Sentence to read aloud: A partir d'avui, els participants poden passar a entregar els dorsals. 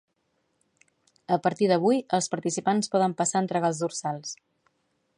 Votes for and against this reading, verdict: 4, 0, accepted